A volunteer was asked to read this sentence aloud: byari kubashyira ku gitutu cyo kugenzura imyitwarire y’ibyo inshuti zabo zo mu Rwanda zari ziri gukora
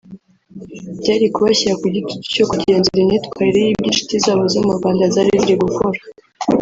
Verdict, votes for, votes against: rejected, 1, 2